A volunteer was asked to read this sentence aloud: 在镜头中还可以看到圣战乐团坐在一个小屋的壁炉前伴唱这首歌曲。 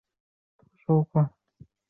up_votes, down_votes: 0, 3